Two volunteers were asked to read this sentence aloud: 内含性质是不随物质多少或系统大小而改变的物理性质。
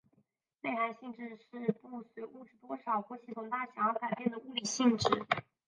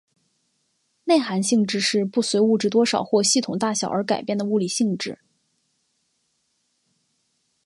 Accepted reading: second